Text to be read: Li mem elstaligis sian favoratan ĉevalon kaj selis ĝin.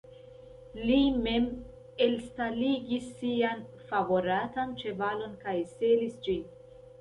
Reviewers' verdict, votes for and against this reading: rejected, 0, 2